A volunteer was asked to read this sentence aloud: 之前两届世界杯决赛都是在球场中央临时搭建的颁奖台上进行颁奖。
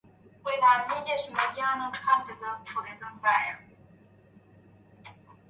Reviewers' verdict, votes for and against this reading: rejected, 0, 2